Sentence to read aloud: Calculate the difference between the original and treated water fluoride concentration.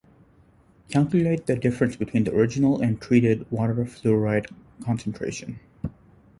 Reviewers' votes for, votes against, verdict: 2, 0, accepted